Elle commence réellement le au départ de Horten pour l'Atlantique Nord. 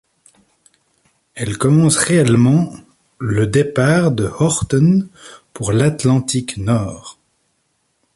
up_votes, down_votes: 1, 2